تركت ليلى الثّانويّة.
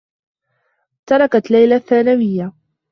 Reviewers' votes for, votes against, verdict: 2, 1, accepted